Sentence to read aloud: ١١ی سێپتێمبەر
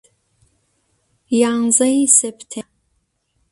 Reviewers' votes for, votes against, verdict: 0, 2, rejected